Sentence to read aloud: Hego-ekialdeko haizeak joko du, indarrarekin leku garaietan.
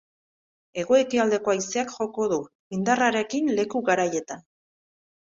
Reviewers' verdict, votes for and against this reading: accepted, 2, 0